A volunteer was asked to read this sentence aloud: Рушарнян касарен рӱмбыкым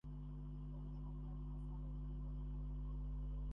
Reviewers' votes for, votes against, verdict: 0, 2, rejected